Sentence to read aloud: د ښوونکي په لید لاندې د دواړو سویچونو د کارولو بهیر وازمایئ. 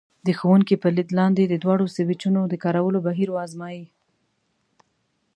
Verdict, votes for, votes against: accepted, 2, 0